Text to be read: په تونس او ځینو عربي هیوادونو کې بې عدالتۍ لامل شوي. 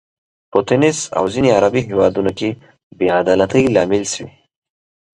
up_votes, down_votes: 3, 0